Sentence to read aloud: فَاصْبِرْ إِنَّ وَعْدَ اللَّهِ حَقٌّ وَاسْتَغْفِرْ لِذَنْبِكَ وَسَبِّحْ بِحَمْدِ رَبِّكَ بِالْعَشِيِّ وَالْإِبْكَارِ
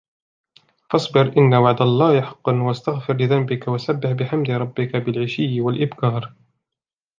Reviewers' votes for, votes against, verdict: 2, 1, accepted